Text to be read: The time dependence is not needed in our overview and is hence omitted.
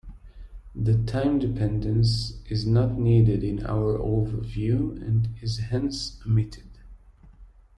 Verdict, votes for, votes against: accepted, 2, 0